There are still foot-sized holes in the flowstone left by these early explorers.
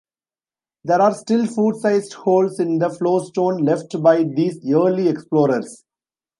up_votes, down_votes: 2, 0